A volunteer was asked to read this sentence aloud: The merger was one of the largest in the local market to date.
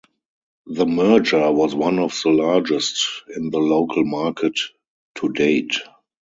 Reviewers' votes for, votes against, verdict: 2, 2, rejected